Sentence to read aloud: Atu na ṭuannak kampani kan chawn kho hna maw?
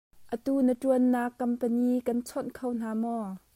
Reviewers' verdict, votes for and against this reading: accepted, 2, 0